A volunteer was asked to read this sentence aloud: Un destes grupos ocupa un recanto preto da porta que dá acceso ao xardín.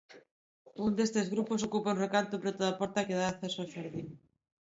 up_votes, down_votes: 1, 2